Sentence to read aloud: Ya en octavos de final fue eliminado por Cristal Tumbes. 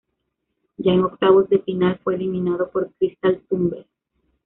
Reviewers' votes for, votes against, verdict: 2, 0, accepted